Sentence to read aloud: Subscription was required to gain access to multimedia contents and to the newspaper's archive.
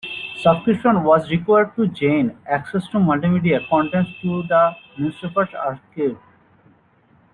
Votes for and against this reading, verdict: 0, 2, rejected